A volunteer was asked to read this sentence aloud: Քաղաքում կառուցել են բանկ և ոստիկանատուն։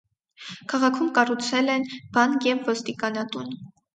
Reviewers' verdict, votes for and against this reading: accepted, 4, 0